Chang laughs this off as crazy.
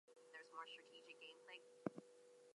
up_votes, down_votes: 0, 2